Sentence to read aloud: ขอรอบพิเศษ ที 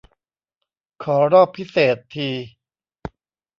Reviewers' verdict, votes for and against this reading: accepted, 2, 0